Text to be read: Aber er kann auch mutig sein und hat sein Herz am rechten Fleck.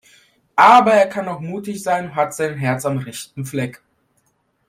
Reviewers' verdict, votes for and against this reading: rejected, 0, 2